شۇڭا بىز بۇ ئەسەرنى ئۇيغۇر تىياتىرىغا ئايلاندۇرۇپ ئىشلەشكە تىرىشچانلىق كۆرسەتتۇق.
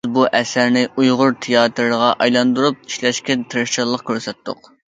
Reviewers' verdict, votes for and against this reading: rejected, 0, 2